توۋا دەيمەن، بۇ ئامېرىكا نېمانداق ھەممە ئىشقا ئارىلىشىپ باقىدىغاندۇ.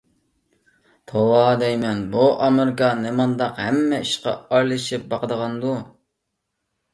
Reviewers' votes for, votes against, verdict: 2, 0, accepted